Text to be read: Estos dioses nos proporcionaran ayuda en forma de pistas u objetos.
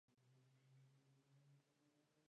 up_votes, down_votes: 0, 2